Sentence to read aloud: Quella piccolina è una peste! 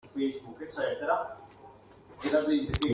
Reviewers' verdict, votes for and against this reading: rejected, 0, 2